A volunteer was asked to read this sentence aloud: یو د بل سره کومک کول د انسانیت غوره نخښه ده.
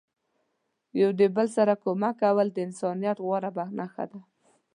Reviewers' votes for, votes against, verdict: 2, 0, accepted